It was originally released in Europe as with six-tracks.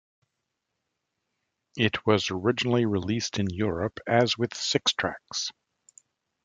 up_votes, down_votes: 2, 0